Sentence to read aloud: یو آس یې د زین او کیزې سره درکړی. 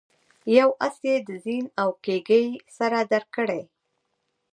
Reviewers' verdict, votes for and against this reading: accepted, 2, 1